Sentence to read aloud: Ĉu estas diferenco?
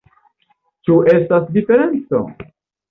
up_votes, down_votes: 1, 2